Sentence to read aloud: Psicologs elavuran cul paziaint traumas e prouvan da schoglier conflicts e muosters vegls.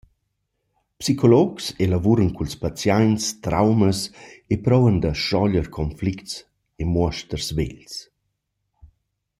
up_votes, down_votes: 0, 2